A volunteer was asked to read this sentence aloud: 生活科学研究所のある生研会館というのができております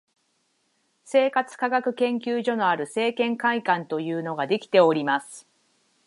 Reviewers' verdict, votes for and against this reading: accepted, 6, 0